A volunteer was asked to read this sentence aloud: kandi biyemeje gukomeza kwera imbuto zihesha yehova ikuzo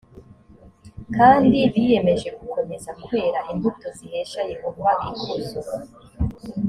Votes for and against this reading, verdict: 2, 0, accepted